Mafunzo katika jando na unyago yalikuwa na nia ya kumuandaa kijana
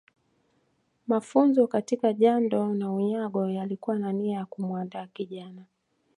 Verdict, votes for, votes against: accepted, 2, 1